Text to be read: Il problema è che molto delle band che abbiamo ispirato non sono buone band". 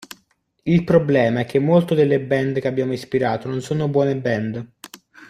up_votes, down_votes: 2, 0